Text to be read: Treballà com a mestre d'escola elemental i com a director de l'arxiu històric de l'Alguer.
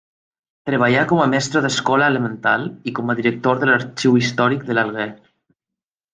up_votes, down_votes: 3, 1